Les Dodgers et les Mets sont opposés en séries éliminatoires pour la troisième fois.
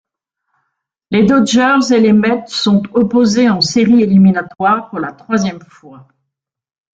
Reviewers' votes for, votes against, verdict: 3, 0, accepted